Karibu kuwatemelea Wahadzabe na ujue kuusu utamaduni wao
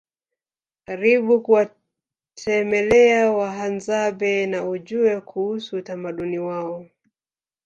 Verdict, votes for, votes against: rejected, 1, 2